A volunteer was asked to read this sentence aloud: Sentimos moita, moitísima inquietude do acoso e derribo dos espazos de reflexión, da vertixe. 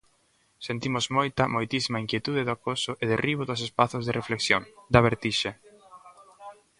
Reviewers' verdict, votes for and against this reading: rejected, 1, 2